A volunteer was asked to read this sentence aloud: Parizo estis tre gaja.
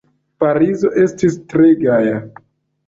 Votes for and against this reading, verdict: 0, 2, rejected